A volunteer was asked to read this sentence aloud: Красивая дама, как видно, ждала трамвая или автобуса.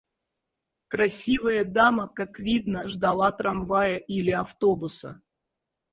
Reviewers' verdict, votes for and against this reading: accepted, 4, 0